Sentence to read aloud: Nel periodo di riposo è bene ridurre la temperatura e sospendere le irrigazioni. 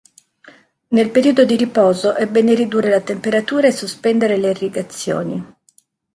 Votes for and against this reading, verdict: 2, 0, accepted